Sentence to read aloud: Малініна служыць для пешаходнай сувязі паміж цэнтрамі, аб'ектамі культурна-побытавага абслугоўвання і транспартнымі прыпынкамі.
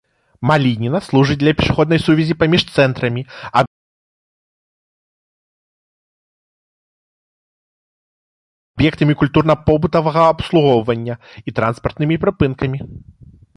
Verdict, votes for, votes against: rejected, 0, 2